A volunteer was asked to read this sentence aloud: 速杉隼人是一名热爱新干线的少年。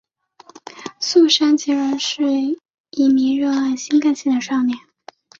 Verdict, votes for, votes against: accepted, 3, 1